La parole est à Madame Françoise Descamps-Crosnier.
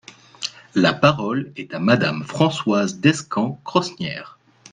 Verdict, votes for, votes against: rejected, 1, 2